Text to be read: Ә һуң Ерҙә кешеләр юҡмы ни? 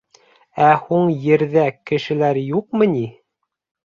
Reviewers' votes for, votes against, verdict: 2, 0, accepted